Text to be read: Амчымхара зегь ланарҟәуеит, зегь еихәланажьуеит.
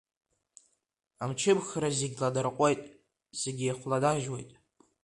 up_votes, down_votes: 2, 0